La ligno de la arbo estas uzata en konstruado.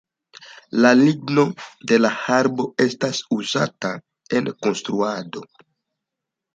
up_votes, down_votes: 0, 2